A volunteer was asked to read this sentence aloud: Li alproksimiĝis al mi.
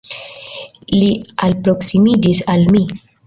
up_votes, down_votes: 2, 0